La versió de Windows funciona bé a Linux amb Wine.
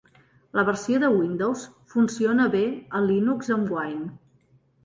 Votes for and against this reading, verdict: 3, 0, accepted